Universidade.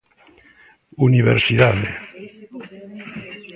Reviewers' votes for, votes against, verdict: 1, 2, rejected